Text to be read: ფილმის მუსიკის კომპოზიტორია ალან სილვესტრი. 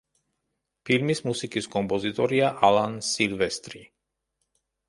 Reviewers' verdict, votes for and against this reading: accepted, 2, 0